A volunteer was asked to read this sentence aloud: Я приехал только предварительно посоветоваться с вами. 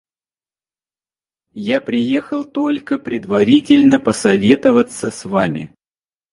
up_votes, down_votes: 2, 4